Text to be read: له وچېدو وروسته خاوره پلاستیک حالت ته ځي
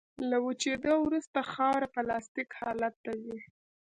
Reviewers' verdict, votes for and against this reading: accepted, 2, 0